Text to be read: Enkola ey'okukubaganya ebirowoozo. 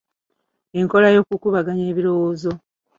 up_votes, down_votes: 2, 1